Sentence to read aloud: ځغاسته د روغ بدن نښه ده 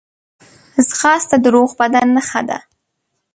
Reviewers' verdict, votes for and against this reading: accepted, 2, 0